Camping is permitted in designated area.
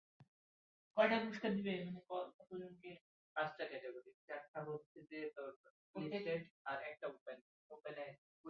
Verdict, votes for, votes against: rejected, 0, 2